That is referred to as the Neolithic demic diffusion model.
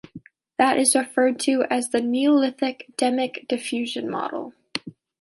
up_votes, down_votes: 2, 0